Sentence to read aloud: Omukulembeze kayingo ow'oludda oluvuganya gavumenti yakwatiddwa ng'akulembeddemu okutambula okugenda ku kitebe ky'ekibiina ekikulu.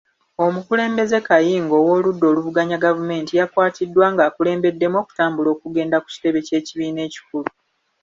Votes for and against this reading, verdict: 2, 0, accepted